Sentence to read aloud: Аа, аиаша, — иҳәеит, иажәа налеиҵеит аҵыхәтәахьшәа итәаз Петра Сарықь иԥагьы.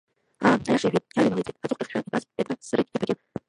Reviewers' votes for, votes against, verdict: 0, 2, rejected